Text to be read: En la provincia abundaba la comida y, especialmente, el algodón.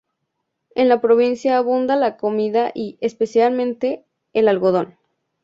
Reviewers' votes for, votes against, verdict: 0, 2, rejected